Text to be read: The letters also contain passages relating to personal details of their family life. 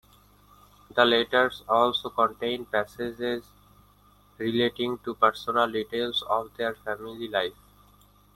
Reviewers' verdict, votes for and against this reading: accepted, 2, 0